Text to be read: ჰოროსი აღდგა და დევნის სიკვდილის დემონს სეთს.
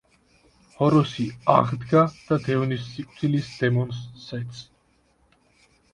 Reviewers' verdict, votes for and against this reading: rejected, 1, 2